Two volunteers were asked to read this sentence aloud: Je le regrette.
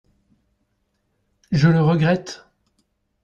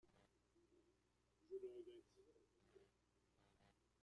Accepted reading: first